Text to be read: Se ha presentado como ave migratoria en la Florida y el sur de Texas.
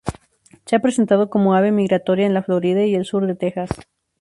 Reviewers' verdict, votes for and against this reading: accepted, 2, 0